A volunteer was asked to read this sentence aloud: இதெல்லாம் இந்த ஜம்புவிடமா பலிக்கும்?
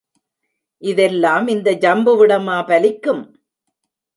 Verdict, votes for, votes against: accepted, 3, 1